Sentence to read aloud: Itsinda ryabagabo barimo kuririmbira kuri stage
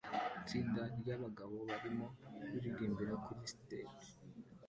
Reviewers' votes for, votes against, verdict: 2, 1, accepted